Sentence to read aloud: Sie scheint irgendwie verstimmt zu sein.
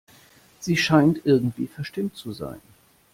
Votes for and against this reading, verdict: 2, 0, accepted